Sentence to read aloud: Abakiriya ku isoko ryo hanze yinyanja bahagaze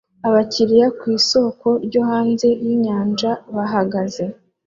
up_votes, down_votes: 2, 0